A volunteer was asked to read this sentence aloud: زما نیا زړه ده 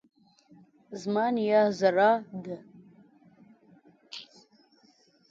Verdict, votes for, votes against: rejected, 0, 2